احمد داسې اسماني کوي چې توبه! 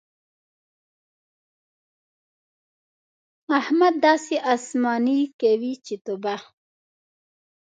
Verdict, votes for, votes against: rejected, 0, 2